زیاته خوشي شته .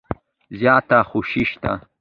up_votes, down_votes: 2, 0